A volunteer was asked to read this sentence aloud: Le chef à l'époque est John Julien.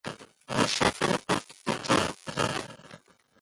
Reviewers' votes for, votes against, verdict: 0, 2, rejected